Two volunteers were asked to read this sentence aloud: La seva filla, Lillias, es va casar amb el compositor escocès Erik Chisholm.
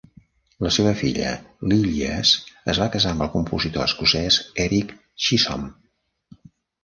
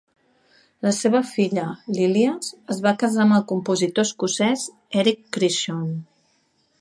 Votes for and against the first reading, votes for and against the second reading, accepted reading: 2, 0, 1, 2, first